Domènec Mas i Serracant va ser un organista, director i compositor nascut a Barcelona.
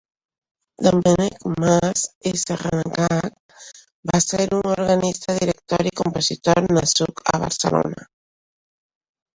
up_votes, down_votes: 1, 2